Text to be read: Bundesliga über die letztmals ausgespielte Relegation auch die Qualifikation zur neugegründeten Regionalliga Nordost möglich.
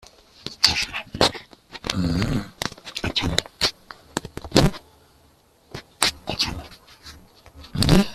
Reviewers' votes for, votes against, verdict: 0, 2, rejected